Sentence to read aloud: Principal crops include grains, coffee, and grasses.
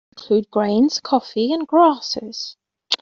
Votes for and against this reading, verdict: 0, 2, rejected